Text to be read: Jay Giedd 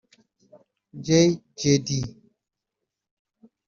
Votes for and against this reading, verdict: 0, 2, rejected